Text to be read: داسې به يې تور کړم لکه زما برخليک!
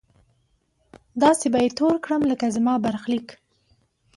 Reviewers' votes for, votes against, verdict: 2, 1, accepted